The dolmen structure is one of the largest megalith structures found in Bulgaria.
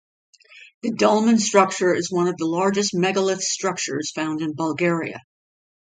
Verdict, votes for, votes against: accepted, 2, 0